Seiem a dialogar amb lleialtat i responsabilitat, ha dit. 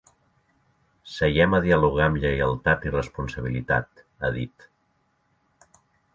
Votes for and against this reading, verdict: 2, 0, accepted